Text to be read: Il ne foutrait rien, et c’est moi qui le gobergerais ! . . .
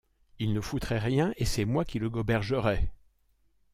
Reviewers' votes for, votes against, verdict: 2, 1, accepted